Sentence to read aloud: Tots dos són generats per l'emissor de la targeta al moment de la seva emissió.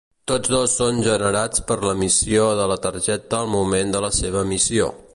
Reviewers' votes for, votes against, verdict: 1, 2, rejected